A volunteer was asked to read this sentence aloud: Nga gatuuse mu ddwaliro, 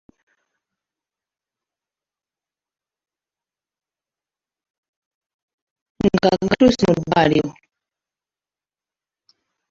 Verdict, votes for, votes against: rejected, 0, 2